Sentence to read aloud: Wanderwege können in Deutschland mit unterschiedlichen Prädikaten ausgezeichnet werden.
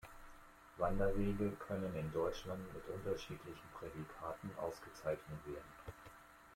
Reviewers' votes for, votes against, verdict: 2, 0, accepted